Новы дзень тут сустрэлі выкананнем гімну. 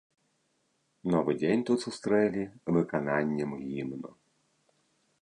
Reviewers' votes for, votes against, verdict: 2, 0, accepted